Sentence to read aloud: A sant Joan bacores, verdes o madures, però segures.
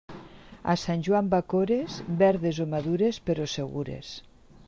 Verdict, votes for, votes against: accepted, 3, 0